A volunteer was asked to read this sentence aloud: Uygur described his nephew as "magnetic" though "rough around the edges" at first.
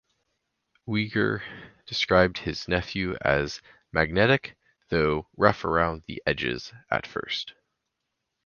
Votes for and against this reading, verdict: 4, 0, accepted